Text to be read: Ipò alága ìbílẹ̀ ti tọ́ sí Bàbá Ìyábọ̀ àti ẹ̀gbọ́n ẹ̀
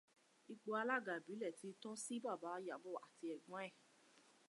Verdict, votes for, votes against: accepted, 2, 0